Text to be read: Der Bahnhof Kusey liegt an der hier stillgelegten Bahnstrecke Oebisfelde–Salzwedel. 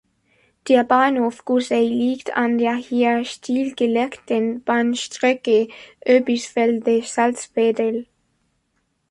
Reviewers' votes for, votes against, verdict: 3, 2, accepted